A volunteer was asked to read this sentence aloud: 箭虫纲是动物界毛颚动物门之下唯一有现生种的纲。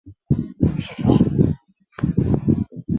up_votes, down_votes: 0, 2